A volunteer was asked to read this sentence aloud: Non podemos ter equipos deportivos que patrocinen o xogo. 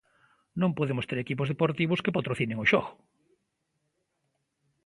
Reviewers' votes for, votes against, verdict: 2, 0, accepted